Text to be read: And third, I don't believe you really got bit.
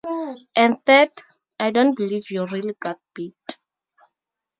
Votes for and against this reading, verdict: 2, 0, accepted